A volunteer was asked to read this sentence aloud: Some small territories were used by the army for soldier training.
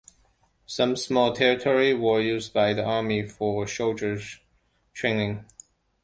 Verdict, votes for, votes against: rejected, 1, 2